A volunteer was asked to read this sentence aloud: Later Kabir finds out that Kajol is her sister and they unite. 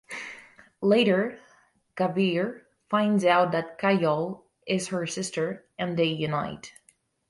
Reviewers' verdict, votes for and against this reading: accepted, 6, 0